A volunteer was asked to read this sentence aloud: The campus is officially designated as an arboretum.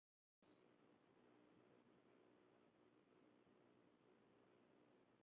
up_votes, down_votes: 0, 2